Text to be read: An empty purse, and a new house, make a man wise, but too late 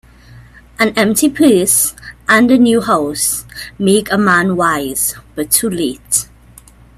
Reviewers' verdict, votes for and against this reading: rejected, 1, 2